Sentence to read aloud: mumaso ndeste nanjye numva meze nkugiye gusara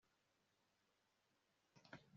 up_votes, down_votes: 2, 0